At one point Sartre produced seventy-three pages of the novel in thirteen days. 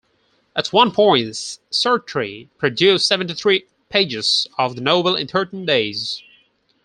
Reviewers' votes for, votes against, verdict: 2, 4, rejected